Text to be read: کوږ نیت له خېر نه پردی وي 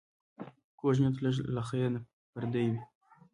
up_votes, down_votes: 2, 0